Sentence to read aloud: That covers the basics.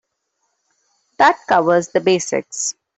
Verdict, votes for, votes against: accepted, 2, 0